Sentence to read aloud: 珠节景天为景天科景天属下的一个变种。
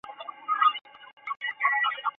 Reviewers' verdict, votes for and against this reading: accepted, 2, 0